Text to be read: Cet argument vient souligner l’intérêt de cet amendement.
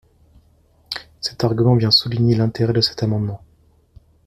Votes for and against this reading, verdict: 2, 0, accepted